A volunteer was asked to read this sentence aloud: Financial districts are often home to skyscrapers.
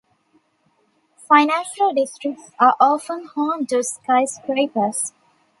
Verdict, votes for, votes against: rejected, 0, 2